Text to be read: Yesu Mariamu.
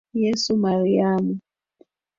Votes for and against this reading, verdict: 2, 1, accepted